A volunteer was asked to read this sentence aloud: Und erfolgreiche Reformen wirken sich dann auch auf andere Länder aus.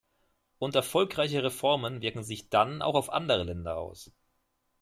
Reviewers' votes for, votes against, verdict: 2, 0, accepted